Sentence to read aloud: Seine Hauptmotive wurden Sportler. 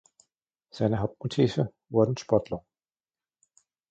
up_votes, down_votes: 2, 1